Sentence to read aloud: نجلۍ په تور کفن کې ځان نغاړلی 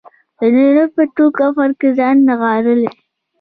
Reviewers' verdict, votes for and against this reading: accepted, 2, 0